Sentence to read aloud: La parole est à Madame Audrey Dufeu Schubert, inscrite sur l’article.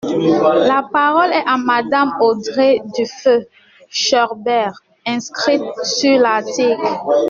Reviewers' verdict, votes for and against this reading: rejected, 0, 2